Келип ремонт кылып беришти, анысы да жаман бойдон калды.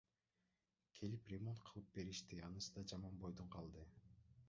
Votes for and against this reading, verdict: 0, 2, rejected